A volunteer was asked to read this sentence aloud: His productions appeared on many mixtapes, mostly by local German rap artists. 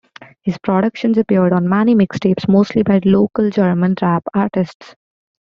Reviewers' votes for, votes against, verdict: 2, 0, accepted